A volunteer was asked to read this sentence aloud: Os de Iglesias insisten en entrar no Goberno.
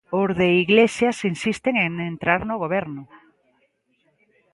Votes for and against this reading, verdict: 2, 0, accepted